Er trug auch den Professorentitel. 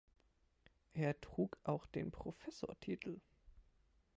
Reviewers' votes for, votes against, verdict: 0, 2, rejected